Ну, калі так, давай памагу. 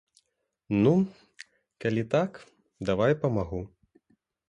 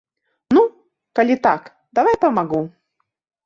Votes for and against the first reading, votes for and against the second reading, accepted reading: 2, 0, 1, 2, first